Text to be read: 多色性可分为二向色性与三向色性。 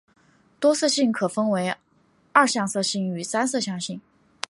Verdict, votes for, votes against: accepted, 2, 0